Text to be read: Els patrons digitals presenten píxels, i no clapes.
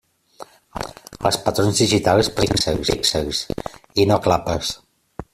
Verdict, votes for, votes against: rejected, 0, 2